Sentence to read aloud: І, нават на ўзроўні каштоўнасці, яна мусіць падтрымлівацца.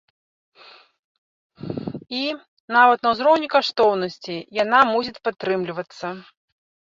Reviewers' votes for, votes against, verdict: 1, 2, rejected